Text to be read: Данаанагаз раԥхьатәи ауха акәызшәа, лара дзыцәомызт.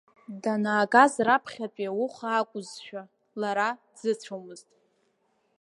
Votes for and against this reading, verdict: 2, 5, rejected